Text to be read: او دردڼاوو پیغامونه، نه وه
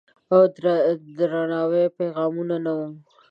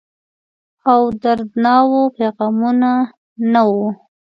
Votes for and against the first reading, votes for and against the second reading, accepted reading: 0, 2, 2, 0, second